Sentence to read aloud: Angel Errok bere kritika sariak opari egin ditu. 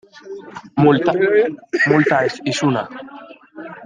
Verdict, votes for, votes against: rejected, 0, 2